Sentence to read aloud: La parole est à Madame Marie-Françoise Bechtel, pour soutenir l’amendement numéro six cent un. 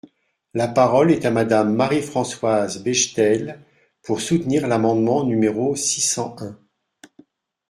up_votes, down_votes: 2, 0